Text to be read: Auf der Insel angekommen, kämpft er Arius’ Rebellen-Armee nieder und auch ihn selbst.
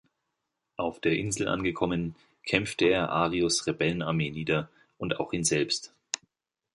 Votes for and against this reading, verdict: 1, 2, rejected